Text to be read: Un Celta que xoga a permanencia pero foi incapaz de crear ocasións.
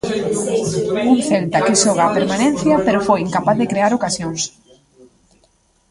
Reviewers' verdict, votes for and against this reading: rejected, 1, 2